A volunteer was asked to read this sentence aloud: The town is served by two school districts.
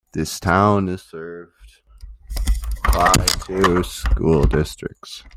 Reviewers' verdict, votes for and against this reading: rejected, 1, 2